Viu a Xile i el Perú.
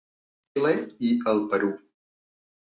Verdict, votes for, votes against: rejected, 1, 3